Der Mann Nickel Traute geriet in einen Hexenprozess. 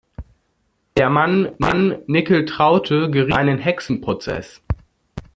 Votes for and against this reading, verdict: 0, 2, rejected